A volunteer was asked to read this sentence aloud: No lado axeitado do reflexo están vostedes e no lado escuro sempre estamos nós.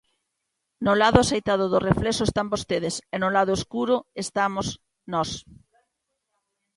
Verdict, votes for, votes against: rejected, 1, 2